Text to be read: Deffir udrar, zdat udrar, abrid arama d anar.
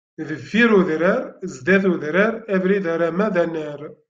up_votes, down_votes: 2, 0